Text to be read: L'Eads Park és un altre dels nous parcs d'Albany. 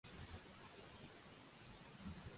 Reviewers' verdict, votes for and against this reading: rejected, 0, 2